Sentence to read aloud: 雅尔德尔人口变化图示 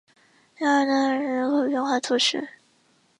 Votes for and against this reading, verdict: 0, 3, rejected